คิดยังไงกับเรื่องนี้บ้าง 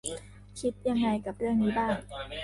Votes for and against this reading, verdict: 0, 2, rejected